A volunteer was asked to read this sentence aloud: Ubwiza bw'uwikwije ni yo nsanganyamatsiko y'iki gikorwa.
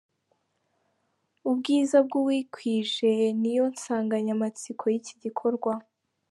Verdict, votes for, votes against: accepted, 2, 0